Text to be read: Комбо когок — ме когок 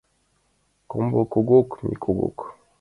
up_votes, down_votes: 2, 0